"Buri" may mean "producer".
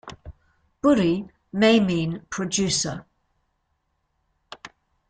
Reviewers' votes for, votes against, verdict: 2, 0, accepted